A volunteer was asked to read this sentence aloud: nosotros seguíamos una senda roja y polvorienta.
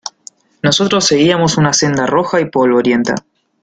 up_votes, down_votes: 2, 0